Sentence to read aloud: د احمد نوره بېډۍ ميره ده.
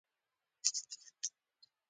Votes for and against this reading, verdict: 1, 2, rejected